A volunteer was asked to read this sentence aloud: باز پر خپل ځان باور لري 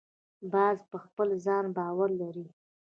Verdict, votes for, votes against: accepted, 2, 0